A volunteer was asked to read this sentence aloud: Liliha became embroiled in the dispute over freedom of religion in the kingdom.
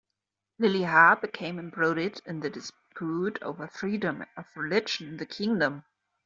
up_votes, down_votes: 0, 2